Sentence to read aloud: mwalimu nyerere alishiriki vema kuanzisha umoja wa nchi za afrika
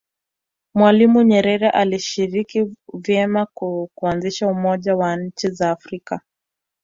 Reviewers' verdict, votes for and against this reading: rejected, 1, 2